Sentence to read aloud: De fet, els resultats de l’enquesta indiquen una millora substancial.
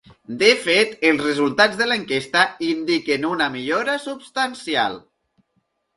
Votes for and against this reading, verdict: 2, 0, accepted